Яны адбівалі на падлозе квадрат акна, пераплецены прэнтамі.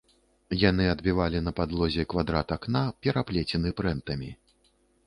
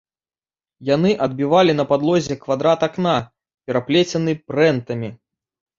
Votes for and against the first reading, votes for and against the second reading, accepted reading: 0, 2, 2, 0, second